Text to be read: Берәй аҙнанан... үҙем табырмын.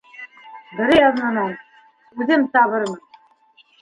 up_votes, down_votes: 0, 2